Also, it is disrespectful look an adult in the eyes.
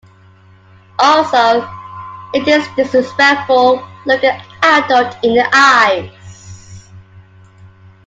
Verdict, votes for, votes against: rejected, 1, 2